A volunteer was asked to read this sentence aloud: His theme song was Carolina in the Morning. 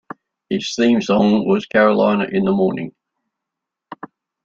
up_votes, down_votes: 2, 0